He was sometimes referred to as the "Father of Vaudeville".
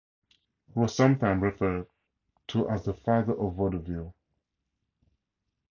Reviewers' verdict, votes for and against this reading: rejected, 2, 2